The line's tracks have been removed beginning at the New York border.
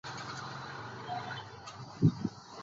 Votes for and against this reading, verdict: 0, 2, rejected